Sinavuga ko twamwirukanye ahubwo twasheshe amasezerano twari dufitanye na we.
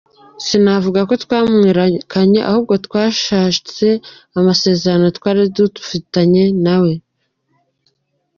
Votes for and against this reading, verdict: 0, 2, rejected